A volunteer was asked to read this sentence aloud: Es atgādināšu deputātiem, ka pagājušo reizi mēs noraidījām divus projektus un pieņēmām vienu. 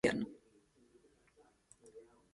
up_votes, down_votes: 0, 2